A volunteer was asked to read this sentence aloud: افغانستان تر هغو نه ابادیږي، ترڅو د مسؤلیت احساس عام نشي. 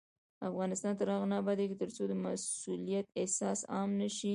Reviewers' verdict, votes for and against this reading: rejected, 0, 2